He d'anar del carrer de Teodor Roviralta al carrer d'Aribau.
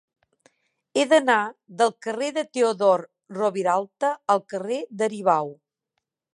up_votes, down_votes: 4, 0